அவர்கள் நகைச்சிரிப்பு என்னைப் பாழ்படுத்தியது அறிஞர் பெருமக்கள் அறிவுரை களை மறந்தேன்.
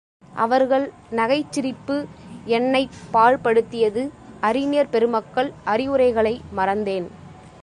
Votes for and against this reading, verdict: 2, 0, accepted